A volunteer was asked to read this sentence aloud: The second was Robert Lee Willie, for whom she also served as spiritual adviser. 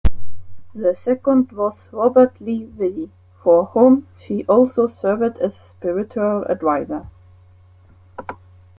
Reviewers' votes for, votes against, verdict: 1, 2, rejected